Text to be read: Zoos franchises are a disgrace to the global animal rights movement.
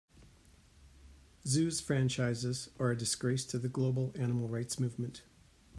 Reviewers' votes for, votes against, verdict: 2, 0, accepted